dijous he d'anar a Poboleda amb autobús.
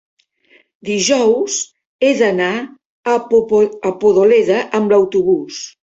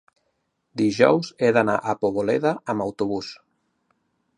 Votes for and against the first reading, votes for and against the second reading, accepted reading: 0, 2, 2, 0, second